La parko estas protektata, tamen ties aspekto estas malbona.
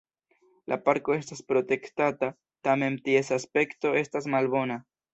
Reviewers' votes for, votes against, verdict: 1, 2, rejected